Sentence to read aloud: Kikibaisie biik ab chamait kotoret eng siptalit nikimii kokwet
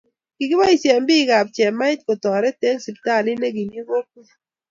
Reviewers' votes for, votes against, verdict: 2, 0, accepted